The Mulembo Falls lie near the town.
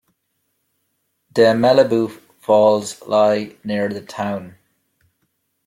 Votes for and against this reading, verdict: 1, 2, rejected